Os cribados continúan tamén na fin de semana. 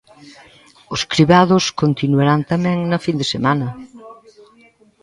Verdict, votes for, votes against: rejected, 0, 2